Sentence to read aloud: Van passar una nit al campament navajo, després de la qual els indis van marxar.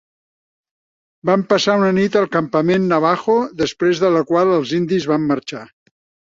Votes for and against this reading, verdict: 0, 2, rejected